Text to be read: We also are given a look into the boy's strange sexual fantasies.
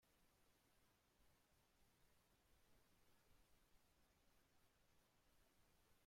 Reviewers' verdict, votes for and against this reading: rejected, 0, 2